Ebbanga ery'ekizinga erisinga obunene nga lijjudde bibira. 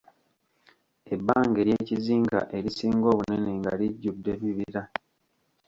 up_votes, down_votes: 0, 2